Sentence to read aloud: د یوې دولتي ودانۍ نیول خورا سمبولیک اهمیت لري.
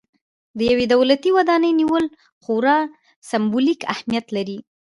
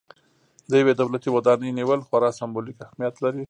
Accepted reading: second